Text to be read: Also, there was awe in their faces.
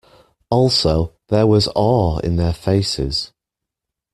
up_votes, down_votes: 2, 0